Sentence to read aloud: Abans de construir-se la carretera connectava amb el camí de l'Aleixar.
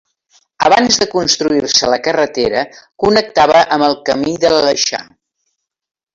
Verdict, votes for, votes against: rejected, 1, 2